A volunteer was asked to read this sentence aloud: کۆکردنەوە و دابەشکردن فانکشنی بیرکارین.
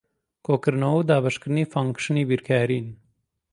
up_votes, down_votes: 2, 0